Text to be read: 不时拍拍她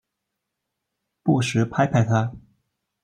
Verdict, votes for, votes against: accepted, 2, 0